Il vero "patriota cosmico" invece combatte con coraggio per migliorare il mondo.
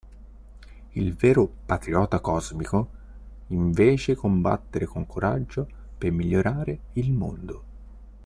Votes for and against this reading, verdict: 0, 2, rejected